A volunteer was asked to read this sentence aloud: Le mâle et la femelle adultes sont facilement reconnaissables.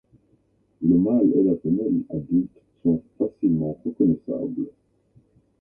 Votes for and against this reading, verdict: 2, 0, accepted